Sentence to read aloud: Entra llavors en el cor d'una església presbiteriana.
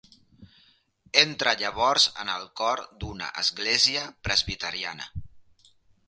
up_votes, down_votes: 3, 0